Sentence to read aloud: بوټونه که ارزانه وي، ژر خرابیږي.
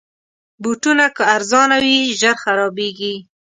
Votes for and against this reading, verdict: 2, 0, accepted